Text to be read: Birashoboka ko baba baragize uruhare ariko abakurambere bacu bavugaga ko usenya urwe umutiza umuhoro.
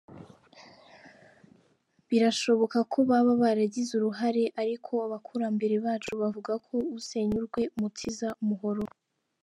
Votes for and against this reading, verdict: 3, 2, accepted